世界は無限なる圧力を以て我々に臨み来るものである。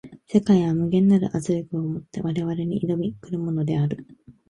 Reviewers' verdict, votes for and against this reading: accepted, 3, 0